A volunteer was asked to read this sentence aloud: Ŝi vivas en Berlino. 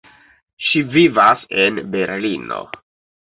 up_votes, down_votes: 2, 0